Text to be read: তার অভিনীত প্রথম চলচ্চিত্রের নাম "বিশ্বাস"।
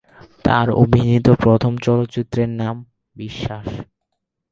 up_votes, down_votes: 0, 12